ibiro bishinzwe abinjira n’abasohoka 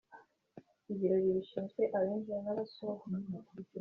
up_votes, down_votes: 2, 1